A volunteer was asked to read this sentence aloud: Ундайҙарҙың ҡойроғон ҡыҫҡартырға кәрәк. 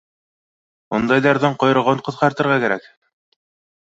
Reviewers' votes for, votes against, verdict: 2, 0, accepted